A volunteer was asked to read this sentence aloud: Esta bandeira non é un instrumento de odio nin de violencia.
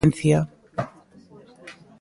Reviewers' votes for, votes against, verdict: 0, 2, rejected